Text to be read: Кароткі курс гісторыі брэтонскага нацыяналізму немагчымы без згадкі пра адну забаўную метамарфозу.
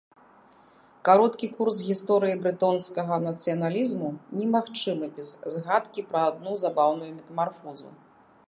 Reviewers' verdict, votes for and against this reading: accepted, 2, 0